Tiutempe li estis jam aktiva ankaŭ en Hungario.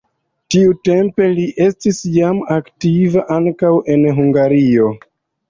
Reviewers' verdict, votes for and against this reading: accepted, 2, 0